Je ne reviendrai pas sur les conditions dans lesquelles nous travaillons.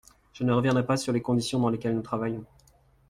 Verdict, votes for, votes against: accepted, 2, 0